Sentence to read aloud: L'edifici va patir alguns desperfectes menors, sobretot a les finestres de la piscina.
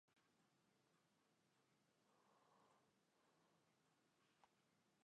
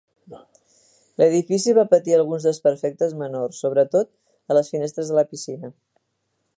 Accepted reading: second